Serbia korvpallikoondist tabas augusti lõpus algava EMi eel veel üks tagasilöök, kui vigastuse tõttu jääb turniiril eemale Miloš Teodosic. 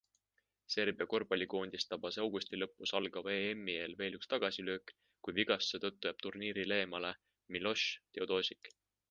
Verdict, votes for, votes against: accepted, 2, 1